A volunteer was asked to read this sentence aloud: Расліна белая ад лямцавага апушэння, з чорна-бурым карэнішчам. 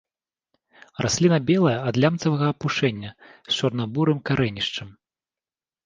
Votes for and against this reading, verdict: 3, 0, accepted